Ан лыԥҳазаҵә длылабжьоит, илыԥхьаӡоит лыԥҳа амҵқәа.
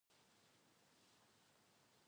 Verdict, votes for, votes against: rejected, 0, 2